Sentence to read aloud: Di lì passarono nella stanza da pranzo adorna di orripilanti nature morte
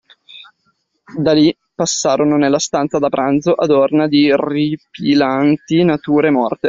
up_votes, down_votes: 0, 2